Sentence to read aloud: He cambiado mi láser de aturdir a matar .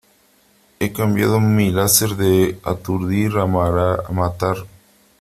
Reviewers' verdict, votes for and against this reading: rejected, 0, 3